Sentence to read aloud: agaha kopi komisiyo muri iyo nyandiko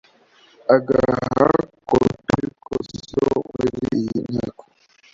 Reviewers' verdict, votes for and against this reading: rejected, 1, 2